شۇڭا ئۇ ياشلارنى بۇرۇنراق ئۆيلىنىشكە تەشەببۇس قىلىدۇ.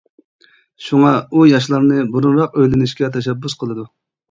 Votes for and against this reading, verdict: 2, 0, accepted